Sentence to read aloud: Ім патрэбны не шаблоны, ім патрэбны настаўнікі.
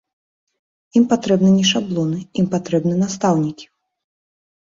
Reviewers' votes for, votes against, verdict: 2, 0, accepted